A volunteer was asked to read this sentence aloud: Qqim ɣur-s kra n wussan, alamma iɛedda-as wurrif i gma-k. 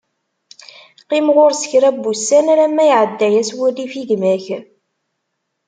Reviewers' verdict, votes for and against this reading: accepted, 2, 0